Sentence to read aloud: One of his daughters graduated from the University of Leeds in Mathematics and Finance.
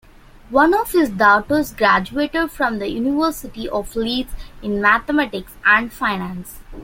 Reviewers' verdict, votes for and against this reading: accepted, 2, 0